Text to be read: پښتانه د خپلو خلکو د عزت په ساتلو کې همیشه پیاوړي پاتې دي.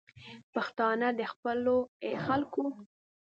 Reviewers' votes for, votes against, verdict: 1, 2, rejected